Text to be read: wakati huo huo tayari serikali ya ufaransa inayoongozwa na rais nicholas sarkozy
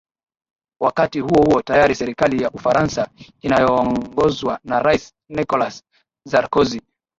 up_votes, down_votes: 3, 2